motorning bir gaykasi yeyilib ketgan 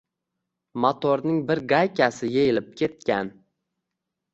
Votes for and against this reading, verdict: 2, 0, accepted